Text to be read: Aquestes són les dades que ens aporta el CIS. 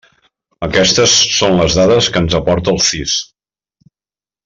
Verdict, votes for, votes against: rejected, 1, 2